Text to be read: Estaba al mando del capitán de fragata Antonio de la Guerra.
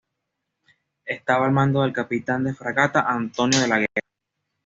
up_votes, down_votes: 2, 0